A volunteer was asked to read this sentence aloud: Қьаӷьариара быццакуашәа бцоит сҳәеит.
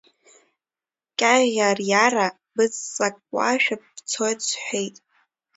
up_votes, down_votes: 0, 2